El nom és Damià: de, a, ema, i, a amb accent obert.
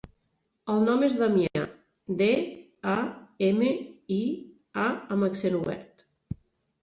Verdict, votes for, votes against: rejected, 2, 3